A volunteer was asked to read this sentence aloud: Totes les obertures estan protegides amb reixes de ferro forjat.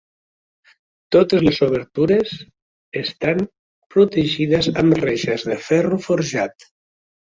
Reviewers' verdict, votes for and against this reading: accepted, 3, 0